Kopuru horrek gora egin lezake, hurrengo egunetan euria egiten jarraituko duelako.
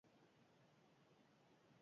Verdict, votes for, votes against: rejected, 0, 6